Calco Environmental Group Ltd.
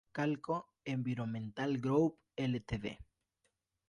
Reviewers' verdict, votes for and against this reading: accepted, 4, 0